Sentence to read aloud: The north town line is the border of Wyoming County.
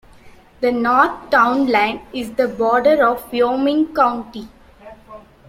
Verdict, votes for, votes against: rejected, 0, 2